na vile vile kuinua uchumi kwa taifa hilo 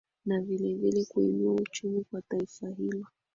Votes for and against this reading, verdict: 4, 4, rejected